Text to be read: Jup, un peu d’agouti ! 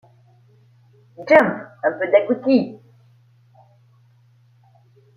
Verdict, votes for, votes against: rejected, 1, 2